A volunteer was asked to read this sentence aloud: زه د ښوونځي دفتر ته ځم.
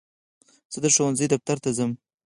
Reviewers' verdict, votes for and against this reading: accepted, 4, 2